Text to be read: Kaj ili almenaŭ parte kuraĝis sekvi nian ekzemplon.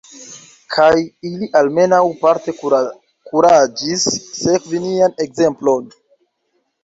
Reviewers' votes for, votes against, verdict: 0, 2, rejected